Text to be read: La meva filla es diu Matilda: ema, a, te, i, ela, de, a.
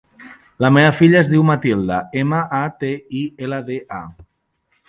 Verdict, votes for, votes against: accepted, 2, 0